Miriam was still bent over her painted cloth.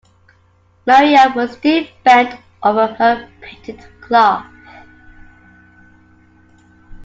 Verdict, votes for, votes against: rejected, 1, 3